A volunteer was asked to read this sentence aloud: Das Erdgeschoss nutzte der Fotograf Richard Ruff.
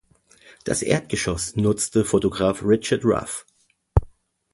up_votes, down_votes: 0, 2